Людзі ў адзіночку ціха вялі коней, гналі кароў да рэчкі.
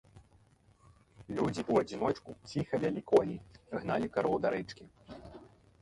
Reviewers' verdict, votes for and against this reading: rejected, 0, 3